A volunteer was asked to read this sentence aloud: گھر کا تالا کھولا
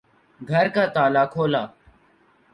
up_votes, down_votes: 2, 0